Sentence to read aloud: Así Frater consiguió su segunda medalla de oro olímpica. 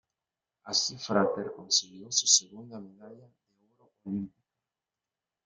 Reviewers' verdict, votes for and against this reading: rejected, 0, 2